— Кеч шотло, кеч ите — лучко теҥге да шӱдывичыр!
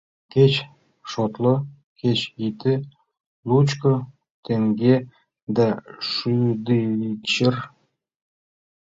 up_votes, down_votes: 2, 1